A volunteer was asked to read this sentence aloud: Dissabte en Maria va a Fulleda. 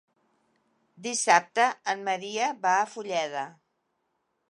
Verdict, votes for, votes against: rejected, 1, 2